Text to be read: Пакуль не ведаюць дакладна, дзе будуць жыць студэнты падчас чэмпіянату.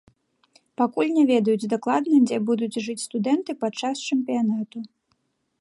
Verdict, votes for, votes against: rejected, 1, 2